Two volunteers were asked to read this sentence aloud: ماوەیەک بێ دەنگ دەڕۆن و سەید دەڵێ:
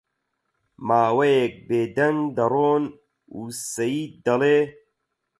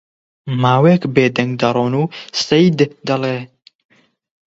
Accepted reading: second